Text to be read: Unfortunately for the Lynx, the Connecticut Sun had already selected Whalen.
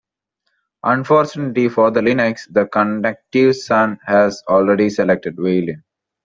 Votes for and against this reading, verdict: 1, 2, rejected